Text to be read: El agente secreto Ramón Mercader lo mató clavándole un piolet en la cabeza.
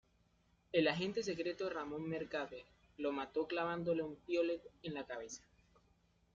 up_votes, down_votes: 1, 2